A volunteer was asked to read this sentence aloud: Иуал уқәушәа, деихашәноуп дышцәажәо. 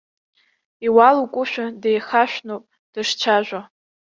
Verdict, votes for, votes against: rejected, 1, 2